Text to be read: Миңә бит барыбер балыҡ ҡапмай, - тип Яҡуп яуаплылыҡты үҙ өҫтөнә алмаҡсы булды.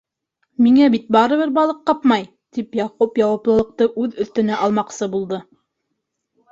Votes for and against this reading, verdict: 1, 2, rejected